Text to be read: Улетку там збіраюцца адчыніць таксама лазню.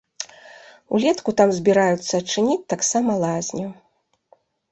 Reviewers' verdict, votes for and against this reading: accepted, 2, 0